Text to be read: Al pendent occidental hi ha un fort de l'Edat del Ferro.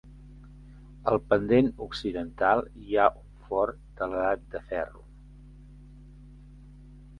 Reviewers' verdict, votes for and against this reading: rejected, 0, 2